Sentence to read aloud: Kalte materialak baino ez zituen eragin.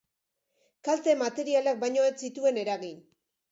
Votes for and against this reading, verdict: 2, 0, accepted